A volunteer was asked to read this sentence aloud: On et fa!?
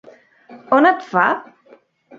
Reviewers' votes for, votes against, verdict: 5, 0, accepted